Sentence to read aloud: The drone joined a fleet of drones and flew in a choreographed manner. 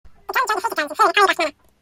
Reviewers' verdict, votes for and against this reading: rejected, 0, 2